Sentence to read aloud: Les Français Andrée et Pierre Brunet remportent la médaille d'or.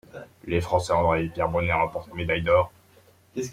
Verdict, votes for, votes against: accepted, 2, 0